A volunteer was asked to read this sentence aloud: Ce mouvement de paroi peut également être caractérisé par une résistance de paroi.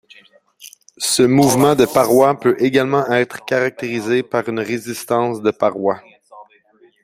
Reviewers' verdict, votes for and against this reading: rejected, 0, 2